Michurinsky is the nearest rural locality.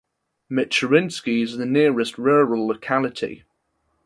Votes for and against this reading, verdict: 2, 0, accepted